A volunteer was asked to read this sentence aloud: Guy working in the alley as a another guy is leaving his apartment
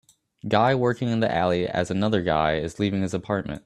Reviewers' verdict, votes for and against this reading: rejected, 0, 2